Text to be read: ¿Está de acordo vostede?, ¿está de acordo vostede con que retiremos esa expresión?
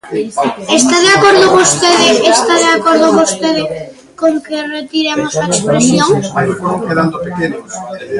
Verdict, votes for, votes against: rejected, 0, 2